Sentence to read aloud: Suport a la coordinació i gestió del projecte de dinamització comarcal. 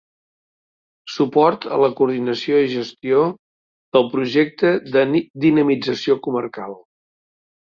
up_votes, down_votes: 0, 2